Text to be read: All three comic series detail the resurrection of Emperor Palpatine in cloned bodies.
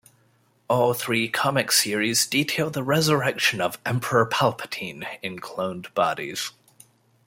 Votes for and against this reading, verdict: 2, 0, accepted